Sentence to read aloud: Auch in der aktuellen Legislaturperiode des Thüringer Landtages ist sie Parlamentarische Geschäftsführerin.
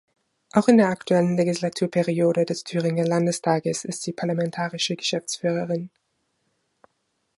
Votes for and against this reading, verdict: 0, 2, rejected